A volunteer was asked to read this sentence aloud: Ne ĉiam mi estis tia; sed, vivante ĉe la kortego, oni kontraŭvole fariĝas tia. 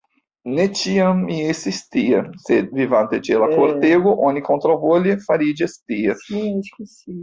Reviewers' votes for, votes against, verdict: 1, 2, rejected